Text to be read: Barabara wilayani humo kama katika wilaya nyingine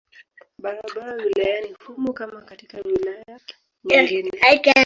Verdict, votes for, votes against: rejected, 0, 2